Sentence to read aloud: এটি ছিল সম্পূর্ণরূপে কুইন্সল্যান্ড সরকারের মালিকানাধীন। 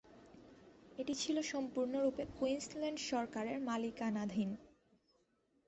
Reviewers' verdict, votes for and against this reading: accepted, 2, 0